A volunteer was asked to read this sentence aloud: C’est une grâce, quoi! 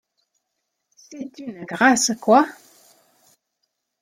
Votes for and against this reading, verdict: 2, 0, accepted